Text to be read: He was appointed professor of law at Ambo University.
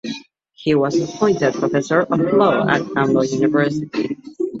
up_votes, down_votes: 1, 2